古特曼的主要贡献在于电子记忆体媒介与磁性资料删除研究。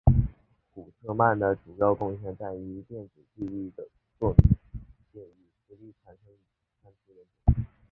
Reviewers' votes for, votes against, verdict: 0, 2, rejected